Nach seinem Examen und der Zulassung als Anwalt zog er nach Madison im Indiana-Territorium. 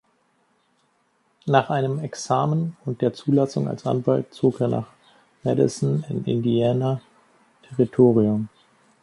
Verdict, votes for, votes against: rejected, 0, 2